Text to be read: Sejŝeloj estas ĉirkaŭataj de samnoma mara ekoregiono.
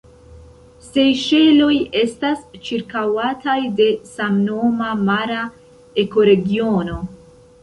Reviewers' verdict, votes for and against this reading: accepted, 2, 0